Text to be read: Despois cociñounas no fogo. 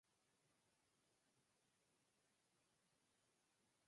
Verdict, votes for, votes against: rejected, 0, 4